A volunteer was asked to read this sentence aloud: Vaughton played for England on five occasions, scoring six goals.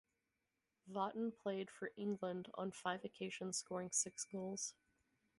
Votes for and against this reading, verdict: 4, 2, accepted